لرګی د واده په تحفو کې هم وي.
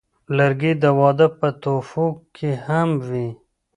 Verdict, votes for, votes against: accepted, 2, 0